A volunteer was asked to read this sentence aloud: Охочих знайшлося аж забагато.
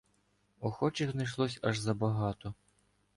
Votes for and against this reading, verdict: 2, 0, accepted